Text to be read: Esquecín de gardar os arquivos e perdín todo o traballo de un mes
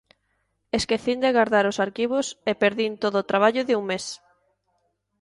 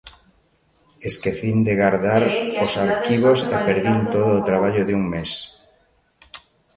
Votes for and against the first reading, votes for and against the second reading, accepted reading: 2, 0, 0, 2, first